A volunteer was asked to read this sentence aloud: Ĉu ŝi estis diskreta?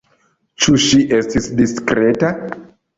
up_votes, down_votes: 2, 0